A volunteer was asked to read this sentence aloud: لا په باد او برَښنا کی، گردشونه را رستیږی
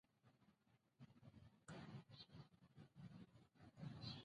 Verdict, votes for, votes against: rejected, 0, 2